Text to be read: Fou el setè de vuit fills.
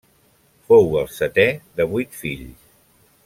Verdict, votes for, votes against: accepted, 3, 0